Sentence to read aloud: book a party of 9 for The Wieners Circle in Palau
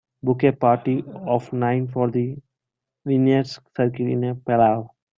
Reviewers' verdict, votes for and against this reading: rejected, 0, 2